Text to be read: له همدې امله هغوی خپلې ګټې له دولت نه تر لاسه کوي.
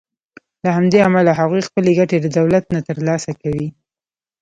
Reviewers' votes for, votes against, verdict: 2, 0, accepted